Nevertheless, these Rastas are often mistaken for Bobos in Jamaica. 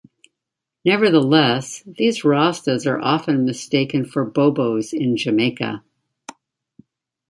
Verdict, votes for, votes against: accepted, 2, 0